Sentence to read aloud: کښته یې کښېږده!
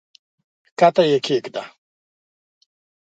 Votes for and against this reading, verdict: 3, 0, accepted